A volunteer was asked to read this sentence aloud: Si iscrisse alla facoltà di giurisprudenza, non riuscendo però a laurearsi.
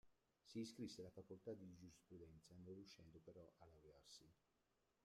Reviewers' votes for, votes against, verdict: 0, 2, rejected